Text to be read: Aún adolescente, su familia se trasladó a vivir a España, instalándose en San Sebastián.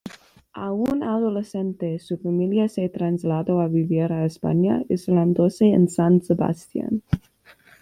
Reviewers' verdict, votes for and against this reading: accepted, 2, 1